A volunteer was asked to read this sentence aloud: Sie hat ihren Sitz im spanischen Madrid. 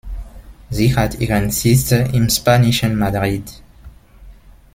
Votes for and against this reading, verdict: 0, 2, rejected